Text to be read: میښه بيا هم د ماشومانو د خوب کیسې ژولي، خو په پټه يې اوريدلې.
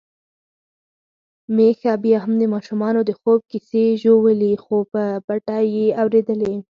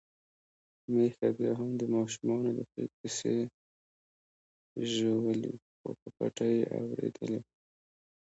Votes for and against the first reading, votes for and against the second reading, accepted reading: 4, 0, 1, 2, first